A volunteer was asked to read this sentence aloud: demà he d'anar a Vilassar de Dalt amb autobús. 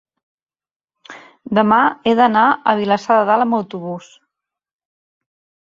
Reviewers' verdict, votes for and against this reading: accepted, 5, 0